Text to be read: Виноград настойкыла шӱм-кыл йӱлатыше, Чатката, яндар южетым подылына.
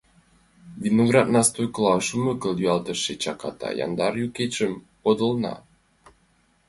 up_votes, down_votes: 0, 2